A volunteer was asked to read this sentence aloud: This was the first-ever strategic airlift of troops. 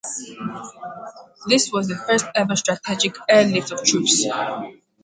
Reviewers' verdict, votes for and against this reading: accepted, 4, 0